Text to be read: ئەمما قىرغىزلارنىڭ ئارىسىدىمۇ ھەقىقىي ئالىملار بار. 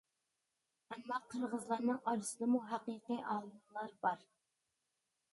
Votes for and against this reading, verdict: 2, 0, accepted